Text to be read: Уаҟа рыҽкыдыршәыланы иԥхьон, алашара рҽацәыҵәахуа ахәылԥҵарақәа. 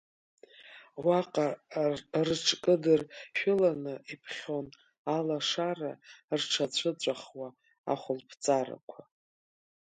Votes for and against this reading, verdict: 3, 4, rejected